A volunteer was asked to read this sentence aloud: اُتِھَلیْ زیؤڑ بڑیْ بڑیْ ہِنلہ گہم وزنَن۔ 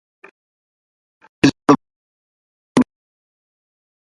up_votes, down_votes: 0, 2